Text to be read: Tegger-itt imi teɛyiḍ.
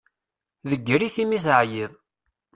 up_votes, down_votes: 0, 2